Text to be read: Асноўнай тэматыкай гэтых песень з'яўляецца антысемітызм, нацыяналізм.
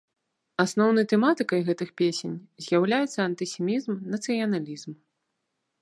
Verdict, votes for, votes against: rejected, 0, 2